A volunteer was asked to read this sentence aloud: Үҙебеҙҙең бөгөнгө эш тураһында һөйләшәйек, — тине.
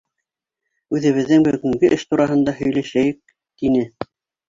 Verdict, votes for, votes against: rejected, 0, 2